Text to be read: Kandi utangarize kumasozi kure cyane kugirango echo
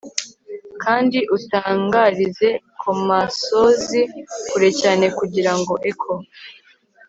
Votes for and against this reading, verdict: 2, 1, accepted